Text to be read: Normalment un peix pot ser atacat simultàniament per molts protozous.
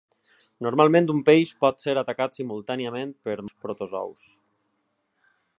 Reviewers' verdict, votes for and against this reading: rejected, 0, 2